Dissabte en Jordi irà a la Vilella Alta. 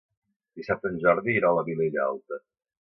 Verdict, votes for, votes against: accepted, 2, 0